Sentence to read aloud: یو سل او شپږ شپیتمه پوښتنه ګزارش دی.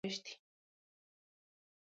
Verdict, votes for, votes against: rejected, 1, 2